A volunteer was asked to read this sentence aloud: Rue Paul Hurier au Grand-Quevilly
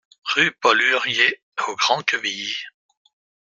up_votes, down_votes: 2, 0